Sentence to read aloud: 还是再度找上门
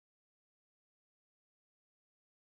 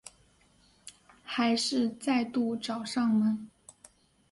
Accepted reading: second